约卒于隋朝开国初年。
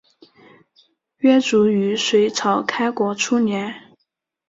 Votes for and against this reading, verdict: 0, 2, rejected